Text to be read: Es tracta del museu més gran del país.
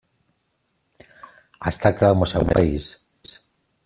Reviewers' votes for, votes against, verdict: 0, 2, rejected